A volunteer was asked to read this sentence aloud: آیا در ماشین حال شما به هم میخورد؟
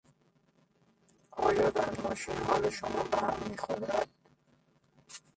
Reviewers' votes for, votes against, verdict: 0, 2, rejected